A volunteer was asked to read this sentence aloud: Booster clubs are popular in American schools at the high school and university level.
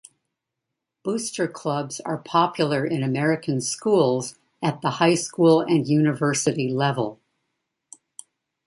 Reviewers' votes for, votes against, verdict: 2, 0, accepted